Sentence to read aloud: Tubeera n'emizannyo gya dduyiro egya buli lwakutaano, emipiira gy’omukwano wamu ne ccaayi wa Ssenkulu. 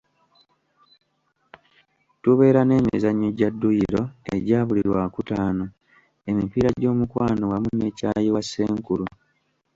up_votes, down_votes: 2, 0